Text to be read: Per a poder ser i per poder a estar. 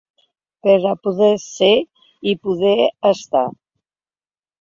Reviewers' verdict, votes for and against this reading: rejected, 0, 2